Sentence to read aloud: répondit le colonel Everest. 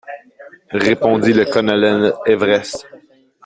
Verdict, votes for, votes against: accepted, 2, 0